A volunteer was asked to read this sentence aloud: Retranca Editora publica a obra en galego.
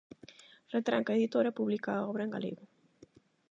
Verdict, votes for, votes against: accepted, 8, 0